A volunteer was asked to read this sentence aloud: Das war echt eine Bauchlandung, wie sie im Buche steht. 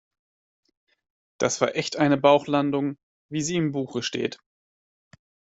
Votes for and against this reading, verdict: 2, 0, accepted